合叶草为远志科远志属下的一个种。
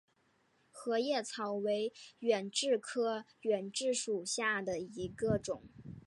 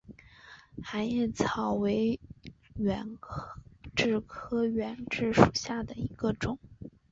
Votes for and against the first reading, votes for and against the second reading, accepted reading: 3, 0, 0, 2, first